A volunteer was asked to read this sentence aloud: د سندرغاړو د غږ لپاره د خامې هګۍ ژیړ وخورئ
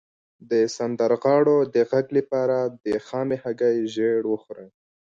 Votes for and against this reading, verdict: 2, 0, accepted